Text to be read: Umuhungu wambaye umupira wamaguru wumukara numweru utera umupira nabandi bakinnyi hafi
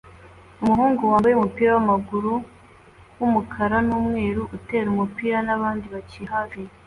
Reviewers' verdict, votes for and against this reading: accepted, 2, 0